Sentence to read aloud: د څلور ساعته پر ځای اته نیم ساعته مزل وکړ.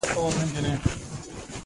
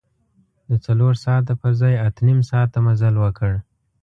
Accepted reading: second